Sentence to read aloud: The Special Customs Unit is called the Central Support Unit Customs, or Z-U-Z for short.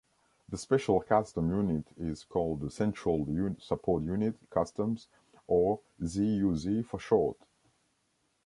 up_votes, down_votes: 1, 2